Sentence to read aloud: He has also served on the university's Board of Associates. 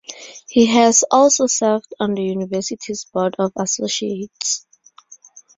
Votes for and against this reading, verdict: 4, 0, accepted